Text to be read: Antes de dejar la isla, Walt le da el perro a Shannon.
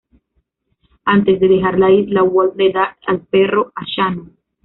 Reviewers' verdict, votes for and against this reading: rejected, 1, 2